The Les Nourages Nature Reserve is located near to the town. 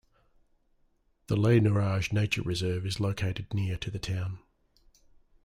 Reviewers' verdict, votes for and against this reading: accepted, 2, 0